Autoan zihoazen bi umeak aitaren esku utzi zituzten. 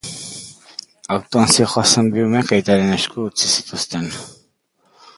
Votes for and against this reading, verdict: 4, 3, accepted